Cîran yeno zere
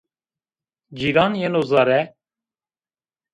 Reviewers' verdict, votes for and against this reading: accepted, 2, 0